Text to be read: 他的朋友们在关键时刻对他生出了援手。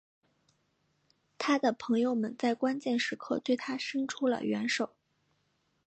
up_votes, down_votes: 2, 0